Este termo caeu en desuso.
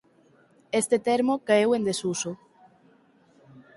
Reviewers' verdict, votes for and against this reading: accepted, 4, 0